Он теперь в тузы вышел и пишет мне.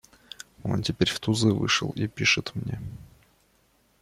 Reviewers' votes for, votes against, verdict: 1, 2, rejected